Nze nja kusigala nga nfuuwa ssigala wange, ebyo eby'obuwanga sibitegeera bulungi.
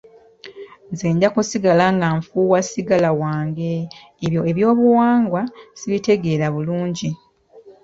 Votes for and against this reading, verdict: 0, 2, rejected